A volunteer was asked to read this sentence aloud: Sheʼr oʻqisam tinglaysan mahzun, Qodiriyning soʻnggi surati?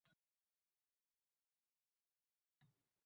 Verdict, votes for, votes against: rejected, 0, 2